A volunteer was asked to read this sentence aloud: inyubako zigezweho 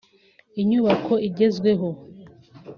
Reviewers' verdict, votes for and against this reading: rejected, 1, 2